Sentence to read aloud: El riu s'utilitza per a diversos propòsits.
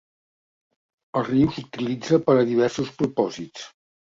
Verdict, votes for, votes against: accepted, 2, 0